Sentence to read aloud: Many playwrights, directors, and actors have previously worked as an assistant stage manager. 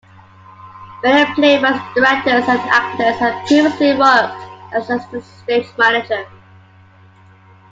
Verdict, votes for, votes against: rejected, 1, 2